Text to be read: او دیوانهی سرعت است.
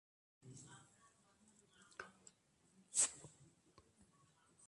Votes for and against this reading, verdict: 0, 2, rejected